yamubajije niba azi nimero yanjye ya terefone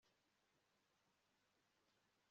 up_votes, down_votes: 0, 2